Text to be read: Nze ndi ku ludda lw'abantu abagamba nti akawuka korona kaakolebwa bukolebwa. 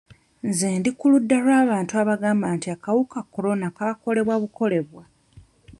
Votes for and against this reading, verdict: 2, 0, accepted